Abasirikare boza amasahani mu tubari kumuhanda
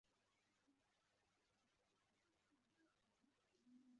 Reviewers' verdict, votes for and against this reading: rejected, 0, 2